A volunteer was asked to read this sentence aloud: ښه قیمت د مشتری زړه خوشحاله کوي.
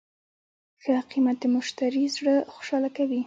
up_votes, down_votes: 2, 0